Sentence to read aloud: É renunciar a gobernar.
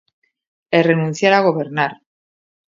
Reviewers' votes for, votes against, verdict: 2, 0, accepted